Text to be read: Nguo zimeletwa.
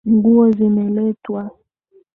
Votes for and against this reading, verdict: 20, 0, accepted